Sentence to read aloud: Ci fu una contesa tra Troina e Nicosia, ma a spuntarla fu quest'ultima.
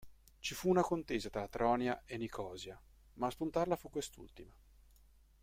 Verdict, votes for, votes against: rejected, 1, 2